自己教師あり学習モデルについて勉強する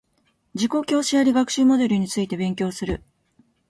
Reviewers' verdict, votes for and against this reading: accepted, 2, 0